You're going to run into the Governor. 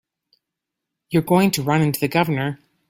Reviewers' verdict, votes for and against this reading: accepted, 2, 0